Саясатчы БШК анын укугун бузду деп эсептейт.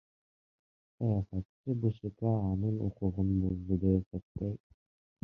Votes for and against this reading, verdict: 0, 2, rejected